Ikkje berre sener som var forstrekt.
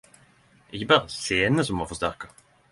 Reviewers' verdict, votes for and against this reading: rejected, 5, 10